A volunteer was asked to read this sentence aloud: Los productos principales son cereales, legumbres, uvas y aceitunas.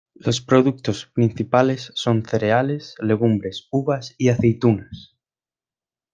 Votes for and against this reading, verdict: 2, 0, accepted